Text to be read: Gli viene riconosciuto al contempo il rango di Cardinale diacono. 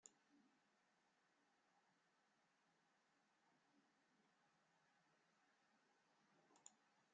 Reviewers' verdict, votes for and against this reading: rejected, 0, 2